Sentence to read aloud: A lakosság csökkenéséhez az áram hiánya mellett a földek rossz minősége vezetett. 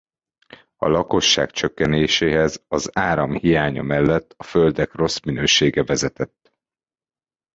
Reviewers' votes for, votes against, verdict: 2, 0, accepted